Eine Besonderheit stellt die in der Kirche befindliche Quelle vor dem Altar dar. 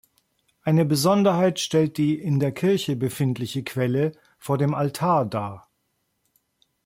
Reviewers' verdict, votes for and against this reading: accepted, 2, 0